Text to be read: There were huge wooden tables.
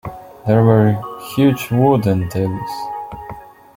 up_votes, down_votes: 2, 1